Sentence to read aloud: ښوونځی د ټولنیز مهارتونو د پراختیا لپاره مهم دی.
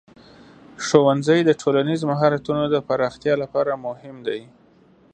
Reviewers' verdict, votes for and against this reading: accepted, 2, 0